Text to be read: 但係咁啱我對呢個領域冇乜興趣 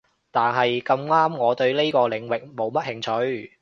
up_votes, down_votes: 2, 0